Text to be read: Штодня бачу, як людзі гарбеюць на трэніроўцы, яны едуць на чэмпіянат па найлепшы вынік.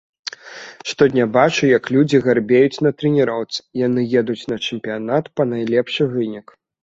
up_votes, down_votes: 2, 0